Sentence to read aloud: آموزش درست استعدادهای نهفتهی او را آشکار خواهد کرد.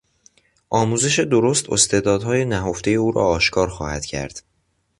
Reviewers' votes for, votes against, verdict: 2, 1, accepted